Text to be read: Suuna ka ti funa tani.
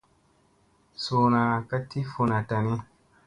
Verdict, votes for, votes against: accepted, 2, 0